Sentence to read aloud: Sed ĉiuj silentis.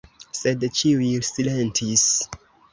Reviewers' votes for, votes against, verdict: 2, 0, accepted